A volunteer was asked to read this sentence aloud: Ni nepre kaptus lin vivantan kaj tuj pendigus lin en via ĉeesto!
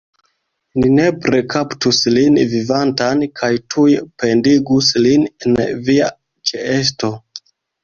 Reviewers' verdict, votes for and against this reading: rejected, 1, 2